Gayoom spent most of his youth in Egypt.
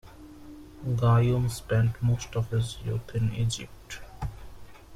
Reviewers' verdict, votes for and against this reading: rejected, 1, 2